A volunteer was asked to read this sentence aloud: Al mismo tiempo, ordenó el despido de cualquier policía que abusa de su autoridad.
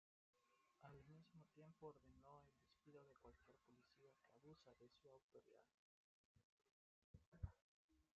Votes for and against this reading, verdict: 0, 2, rejected